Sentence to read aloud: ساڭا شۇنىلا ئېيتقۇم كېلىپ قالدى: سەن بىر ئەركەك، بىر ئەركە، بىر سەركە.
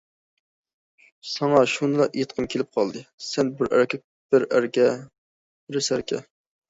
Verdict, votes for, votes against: accepted, 2, 0